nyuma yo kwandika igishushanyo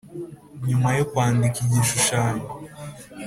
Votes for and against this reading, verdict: 4, 0, accepted